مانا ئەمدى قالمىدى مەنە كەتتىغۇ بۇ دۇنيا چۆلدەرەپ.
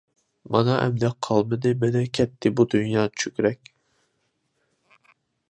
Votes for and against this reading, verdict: 0, 2, rejected